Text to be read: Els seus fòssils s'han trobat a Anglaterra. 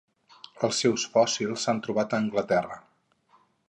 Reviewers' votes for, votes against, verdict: 4, 0, accepted